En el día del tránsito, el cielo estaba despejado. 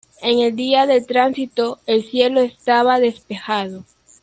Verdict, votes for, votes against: accepted, 2, 0